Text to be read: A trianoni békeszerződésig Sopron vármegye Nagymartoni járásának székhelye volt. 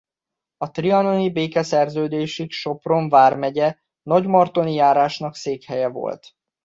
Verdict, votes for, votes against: rejected, 1, 2